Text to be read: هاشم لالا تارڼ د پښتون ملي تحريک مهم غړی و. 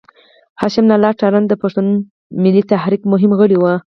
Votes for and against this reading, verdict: 4, 0, accepted